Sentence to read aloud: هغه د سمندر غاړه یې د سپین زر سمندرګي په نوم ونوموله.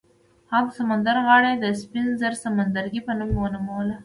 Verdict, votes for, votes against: accepted, 2, 0